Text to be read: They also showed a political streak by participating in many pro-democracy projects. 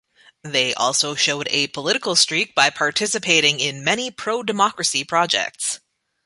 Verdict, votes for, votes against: accepted, 2, 0